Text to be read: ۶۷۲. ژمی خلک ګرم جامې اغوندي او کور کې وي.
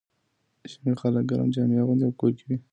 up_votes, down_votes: 0, 2